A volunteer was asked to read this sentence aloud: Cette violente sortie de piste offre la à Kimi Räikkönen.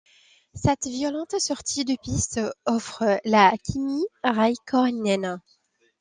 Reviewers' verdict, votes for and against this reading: rejected, 0, 2